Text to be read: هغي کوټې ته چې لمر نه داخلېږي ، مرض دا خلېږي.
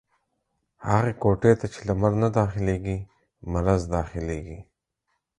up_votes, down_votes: 4, 0